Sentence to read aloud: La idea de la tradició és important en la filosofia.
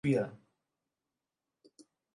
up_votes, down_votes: 0, 3